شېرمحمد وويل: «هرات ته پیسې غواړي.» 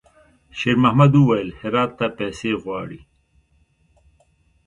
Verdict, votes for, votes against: accepted, 2, 1